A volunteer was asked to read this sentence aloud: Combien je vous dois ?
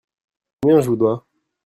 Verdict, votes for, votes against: rejected, 1, 2